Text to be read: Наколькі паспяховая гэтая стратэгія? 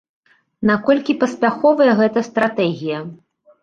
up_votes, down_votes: 1, 2